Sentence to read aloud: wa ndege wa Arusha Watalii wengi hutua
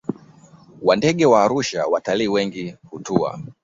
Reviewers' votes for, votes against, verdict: 2, 1, accepted